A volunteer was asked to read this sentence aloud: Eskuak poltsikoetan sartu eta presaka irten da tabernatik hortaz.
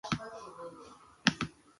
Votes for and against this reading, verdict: 1, 3, rejected